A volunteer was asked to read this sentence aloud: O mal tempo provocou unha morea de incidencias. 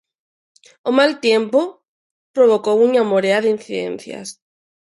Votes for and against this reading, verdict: 0, 2, rejected